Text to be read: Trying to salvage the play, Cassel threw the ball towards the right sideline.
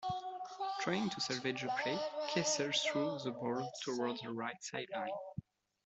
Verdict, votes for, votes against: rejected, 1, 2